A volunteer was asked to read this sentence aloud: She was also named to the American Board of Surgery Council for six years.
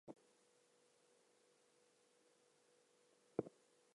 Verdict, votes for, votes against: rejected, 0, 2